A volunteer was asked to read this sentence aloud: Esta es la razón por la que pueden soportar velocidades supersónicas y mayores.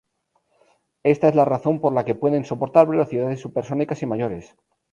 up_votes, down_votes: 0, 2